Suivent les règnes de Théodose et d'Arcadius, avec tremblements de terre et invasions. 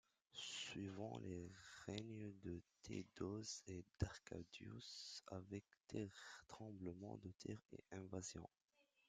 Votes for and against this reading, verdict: 0, 2, rejected